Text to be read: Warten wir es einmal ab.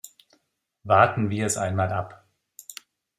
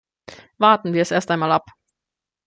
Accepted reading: first